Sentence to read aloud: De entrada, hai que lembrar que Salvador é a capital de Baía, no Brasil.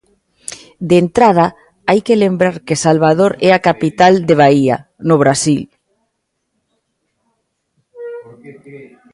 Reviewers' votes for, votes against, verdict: 1, 2, rejected